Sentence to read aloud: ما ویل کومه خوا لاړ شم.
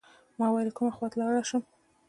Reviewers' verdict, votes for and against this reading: accepted, 2, 0